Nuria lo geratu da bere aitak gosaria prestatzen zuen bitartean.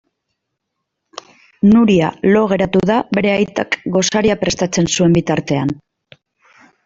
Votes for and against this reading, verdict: 2, 1, accepted